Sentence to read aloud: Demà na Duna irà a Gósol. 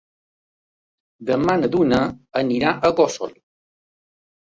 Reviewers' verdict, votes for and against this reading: rejected, 0, 2